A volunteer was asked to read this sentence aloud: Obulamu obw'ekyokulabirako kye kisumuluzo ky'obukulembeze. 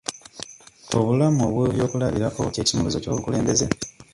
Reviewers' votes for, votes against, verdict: 1, 2, rejected